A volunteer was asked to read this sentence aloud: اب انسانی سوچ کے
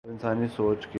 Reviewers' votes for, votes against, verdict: 2, 2, rejected